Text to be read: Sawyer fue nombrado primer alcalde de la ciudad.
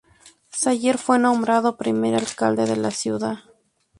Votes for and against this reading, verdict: 2, 0, accepted